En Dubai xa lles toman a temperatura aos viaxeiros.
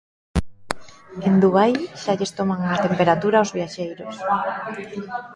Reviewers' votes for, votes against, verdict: 0, 2, rejected